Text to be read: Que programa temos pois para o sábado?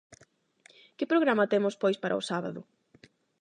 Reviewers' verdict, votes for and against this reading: accepted, 8, 0